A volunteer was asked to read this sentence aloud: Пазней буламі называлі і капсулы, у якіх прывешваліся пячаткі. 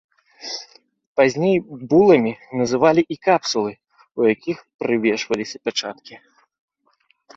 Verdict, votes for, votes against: accepted, 2, 0